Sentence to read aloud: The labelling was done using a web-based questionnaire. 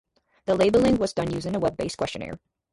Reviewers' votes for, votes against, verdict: 0, 2, rejected